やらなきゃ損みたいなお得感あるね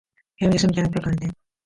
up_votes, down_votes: 1, 2